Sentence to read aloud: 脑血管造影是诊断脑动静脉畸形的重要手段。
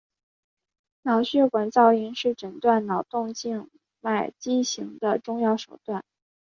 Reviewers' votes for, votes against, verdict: 2, 0, accepted